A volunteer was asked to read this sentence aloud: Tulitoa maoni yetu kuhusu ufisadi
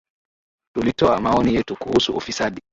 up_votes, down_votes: 2, 0